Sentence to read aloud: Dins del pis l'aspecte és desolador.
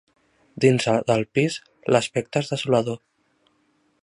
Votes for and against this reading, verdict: 0, 2, rejected